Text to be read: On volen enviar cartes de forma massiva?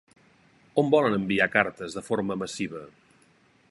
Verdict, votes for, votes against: accepted, 3, 0